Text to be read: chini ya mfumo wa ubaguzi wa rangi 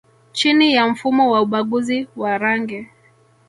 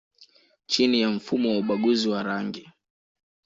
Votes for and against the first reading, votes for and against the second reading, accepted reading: 0, 2, 2, 0, second